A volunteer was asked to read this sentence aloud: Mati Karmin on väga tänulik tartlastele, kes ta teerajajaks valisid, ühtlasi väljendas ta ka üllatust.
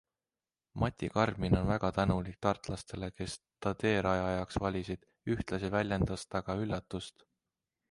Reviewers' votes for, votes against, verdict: 2, 0, accepted